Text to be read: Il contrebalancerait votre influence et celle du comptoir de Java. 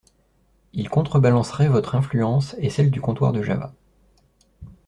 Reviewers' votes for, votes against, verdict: 2, 0, accepted